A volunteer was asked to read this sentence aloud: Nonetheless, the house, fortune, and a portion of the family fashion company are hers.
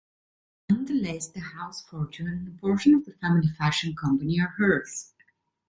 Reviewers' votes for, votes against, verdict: 1, 2, rejected